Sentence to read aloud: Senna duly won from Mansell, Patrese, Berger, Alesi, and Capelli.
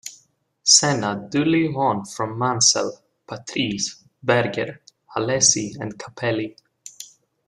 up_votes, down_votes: 2, 0